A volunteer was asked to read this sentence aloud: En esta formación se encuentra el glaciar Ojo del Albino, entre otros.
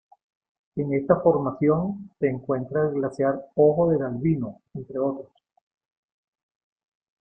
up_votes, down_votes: 2, 1